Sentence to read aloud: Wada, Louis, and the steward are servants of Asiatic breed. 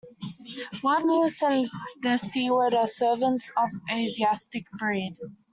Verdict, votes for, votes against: rejected, 1, 2